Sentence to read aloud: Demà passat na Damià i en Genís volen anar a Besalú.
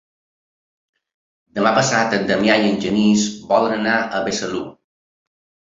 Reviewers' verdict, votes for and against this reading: rejected, 1, 2